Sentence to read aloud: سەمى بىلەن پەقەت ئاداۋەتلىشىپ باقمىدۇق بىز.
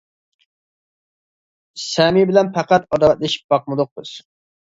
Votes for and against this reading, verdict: 2, 0, accepted